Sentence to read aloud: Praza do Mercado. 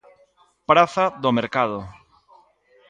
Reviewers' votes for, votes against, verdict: 2, 0, accepted